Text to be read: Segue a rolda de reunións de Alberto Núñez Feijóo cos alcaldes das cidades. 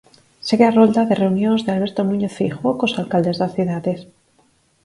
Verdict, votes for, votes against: accepted, 4, 0